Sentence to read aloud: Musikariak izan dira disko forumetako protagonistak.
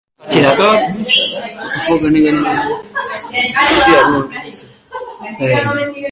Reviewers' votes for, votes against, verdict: 0, 2, rejected